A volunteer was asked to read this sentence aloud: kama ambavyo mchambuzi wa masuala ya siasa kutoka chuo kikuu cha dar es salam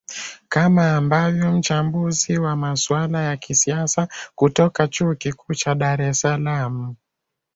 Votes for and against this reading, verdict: 0, 3, rejected